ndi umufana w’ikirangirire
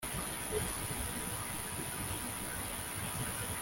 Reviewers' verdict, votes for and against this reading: rejected, 0, 2